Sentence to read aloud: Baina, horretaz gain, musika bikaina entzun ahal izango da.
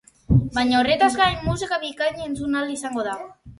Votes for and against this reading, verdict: 0, 2, rejected